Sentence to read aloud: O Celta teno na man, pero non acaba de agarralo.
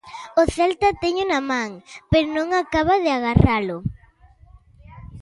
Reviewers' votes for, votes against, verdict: 0, 2, rejected